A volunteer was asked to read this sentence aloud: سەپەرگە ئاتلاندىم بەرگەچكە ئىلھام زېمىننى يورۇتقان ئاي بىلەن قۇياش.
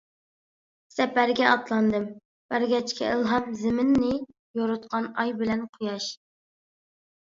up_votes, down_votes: 2, 0